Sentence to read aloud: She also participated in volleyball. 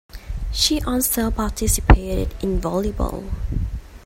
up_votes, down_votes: 3, 0